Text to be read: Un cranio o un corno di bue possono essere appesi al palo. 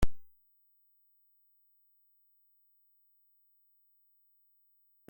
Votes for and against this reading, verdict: 0, 2, rejected